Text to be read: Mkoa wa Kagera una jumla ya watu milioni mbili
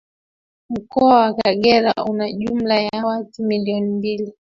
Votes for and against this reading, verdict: 0, 2, rejected